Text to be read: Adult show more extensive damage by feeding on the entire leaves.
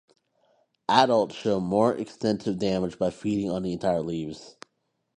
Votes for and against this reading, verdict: 2, 0, accepted